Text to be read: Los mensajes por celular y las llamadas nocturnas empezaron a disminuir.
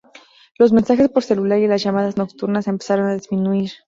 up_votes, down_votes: 2, 0